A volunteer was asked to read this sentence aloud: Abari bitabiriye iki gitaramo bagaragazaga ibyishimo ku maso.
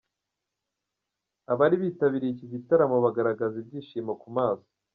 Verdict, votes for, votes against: accepted, 2, 0